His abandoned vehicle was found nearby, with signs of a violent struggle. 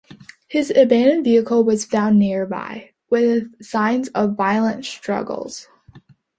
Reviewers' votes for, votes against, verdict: 0, 2, rejected